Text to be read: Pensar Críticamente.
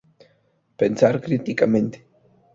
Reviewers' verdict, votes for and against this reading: accepted, 4, 0